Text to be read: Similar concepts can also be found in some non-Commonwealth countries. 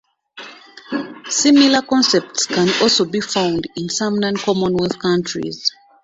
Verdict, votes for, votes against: accepted, 2, 1